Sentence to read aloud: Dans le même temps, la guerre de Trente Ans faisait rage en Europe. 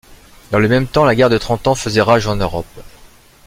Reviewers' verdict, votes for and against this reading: rejected, 1, 2